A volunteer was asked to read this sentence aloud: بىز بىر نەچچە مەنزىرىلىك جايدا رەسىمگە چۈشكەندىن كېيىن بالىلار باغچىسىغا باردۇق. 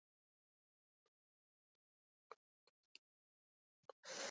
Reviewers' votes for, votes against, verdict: 0, 2, rejected